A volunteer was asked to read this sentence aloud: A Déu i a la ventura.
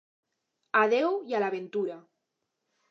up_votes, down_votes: 2, 0